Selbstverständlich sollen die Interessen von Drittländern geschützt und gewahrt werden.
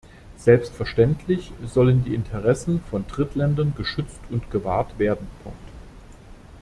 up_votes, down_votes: 0, 2